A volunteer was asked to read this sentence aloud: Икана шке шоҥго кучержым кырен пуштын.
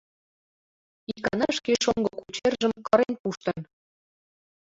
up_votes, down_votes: 2, 0